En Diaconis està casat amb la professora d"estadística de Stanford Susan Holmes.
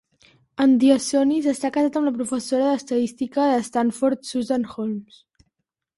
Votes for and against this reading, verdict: 1, 2, rejected